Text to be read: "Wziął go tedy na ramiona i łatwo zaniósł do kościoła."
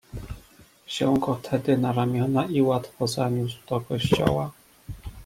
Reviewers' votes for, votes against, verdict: 2, 0, accepted